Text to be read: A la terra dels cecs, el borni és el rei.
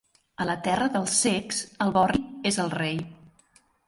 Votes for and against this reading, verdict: 0, 2, rejected